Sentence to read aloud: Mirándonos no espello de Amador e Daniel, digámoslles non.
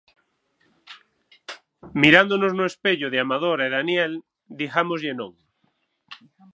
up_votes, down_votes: 6, 3